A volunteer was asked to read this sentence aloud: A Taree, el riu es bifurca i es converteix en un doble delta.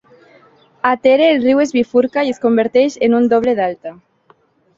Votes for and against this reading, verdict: 1, 2, rejected